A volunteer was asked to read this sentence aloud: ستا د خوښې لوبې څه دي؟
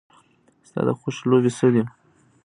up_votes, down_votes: 0, 2